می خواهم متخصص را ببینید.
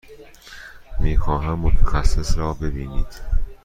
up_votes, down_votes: 2, 0